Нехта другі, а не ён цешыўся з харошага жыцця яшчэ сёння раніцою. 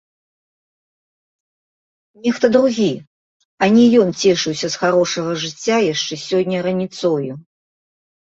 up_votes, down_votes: 2, 1